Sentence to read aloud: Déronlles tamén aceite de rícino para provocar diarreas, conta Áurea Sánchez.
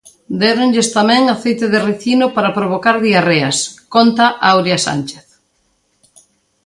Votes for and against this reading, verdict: 2, 1, accepted